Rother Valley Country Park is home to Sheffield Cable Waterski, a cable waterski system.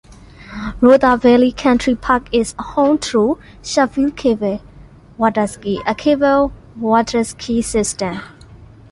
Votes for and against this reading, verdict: 2, 0, accepted